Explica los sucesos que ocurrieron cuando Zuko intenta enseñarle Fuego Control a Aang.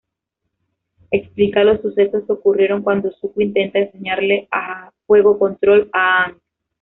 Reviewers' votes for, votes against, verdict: 1, 2, rejected